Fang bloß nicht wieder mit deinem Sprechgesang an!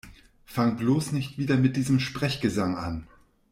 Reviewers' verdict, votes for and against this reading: rejected, 1, 2